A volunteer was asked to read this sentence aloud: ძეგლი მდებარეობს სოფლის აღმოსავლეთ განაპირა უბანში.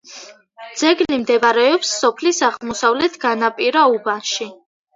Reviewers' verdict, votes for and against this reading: accepted, 2, 1